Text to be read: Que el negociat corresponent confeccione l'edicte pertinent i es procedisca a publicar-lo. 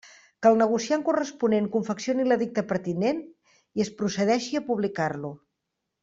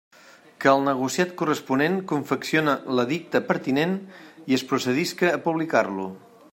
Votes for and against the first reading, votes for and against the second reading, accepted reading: 0, 2, 2, 0, second